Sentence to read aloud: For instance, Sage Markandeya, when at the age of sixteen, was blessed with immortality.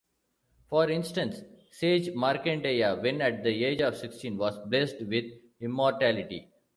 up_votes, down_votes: 0, 2